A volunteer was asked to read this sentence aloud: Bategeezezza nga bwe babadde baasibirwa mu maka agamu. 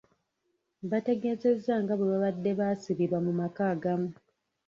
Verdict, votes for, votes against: rejected, 1, 2